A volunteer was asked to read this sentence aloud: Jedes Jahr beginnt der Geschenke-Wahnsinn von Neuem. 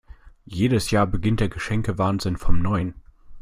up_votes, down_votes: 0, 2